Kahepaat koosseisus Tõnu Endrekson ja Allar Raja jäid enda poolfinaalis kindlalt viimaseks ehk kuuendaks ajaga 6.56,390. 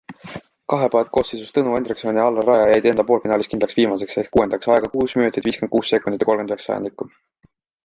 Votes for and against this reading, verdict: 0, 2, rejected